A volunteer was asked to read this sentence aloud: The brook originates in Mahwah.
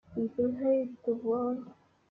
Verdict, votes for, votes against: rejected, 0, 2